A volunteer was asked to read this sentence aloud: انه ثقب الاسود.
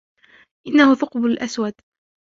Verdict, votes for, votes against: rejected, 1, 2